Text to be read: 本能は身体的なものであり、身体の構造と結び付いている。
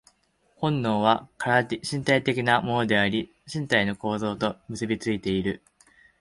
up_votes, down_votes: 0, 2